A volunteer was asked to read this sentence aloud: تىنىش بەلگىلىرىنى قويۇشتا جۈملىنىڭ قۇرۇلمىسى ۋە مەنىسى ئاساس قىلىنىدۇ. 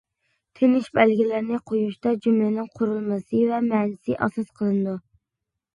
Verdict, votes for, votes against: accepted, 2, 0